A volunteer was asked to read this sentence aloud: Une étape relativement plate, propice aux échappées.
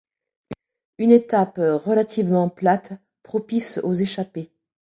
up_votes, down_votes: 2, 0